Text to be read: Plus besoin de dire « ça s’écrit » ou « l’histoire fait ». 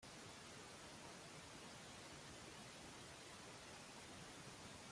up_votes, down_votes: 0, 2